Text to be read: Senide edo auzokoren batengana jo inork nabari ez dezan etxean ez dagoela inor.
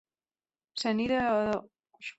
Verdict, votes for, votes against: rejected, 0, 6